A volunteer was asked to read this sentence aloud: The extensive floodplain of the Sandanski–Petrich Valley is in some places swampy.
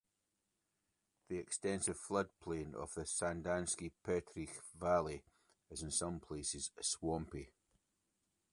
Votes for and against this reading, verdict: 2, 0, accepted